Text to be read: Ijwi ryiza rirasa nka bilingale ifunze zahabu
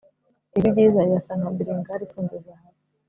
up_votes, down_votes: 2, 0